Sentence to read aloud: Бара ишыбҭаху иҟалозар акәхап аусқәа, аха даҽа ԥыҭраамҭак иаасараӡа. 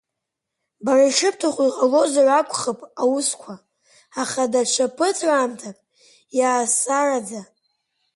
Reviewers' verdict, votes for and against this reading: rejected, 1, 2